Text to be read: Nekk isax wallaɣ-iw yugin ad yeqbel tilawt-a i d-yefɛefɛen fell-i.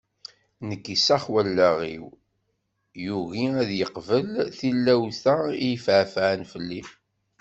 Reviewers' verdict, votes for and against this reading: rejected, 1, 2